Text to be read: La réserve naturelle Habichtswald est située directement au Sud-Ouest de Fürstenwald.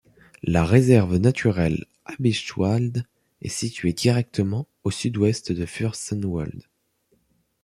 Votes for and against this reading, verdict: 0, 2, rejected